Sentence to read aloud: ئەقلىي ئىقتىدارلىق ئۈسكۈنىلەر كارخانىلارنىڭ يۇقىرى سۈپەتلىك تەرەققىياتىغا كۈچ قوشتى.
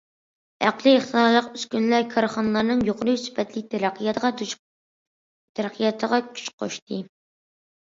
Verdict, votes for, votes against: rejected, 0, 2